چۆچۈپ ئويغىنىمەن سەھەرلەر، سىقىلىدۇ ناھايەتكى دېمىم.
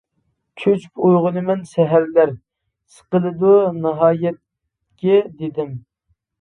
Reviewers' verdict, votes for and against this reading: rejected, 1, 2